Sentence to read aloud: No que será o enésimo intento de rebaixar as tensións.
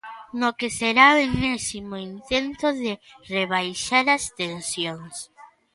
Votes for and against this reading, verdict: 1, 2, rejected